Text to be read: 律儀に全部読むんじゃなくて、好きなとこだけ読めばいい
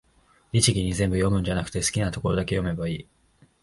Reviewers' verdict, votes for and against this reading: accepted, 2, 0